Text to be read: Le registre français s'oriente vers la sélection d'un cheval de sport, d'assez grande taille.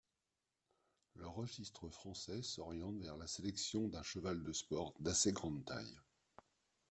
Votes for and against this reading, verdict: 2, 0, accepted